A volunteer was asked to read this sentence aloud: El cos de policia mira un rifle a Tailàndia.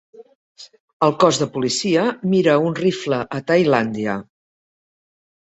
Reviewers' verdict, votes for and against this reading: accepted, 3, 0